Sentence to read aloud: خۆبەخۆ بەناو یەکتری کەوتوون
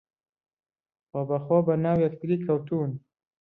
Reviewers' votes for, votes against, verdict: 1, 2, rejected